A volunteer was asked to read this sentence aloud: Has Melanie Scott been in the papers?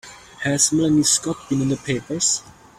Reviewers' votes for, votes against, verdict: 3, 0, accepted